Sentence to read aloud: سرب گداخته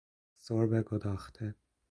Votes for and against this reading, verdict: 1, 2, rejected